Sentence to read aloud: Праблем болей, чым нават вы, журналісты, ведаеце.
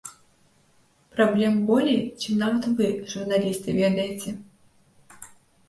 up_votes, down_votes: 2, 0